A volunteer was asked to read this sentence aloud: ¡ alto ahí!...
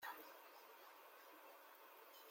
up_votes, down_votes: 0, 2